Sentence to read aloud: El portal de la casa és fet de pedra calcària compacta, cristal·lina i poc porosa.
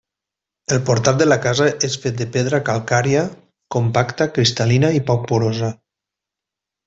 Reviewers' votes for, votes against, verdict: 2, 0, accepted